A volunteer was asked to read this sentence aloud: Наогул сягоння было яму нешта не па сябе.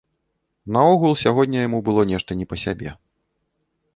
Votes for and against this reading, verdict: 1, 2, rejected